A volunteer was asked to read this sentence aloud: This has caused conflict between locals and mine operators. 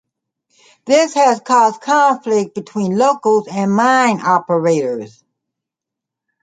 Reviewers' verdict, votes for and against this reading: accepted, 2, 1